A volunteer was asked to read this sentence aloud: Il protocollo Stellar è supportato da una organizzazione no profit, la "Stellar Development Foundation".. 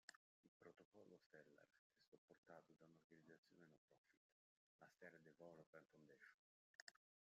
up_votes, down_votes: 0, 2